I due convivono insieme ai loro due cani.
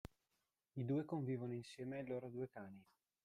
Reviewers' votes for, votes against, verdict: 2, 0, accepted